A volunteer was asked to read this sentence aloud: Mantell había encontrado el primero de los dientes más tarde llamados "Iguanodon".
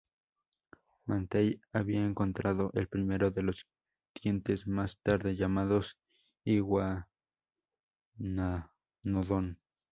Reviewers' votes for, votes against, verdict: 0, 4, rejected